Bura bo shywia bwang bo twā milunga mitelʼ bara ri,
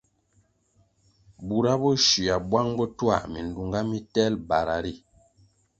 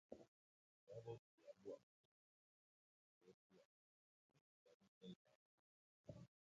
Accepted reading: first